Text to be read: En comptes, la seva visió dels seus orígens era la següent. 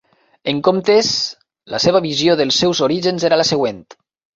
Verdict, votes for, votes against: accepted, 3, 0